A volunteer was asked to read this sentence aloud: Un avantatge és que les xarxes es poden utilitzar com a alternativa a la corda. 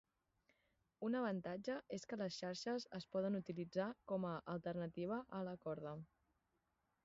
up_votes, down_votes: 2, 2